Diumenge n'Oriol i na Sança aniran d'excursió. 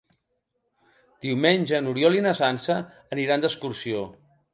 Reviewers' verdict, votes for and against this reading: accepted, 3, 0